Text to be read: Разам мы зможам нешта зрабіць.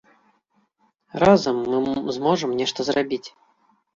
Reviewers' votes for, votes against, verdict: 0, 2, rejected